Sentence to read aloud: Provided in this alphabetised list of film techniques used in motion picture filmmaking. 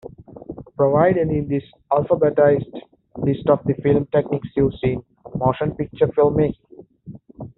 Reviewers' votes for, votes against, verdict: 1, 2, rejected